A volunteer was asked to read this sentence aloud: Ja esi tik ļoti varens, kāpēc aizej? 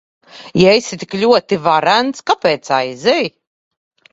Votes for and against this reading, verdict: 2, 0, accepted